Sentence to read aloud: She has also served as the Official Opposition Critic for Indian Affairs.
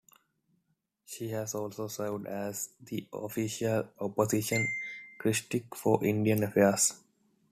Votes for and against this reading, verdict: 0, 2, rejected